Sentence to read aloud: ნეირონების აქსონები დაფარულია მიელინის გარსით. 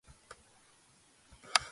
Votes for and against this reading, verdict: 1, 2, rejected